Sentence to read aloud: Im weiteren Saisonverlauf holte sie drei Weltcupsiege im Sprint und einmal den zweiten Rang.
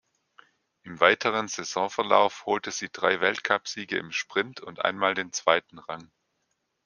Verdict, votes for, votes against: accepted, 2, 0